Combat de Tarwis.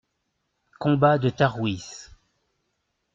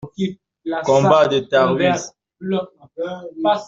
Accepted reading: first